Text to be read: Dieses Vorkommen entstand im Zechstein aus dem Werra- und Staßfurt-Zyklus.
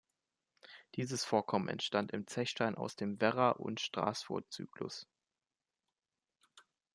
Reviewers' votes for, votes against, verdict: 0, 2, rejected